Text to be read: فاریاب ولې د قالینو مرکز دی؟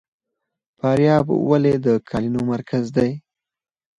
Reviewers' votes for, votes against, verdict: 4, 0, accepted